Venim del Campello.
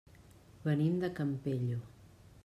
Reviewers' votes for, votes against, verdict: 1, 2, rejected